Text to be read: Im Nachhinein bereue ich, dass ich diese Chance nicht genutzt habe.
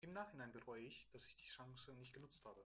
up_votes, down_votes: 1, 2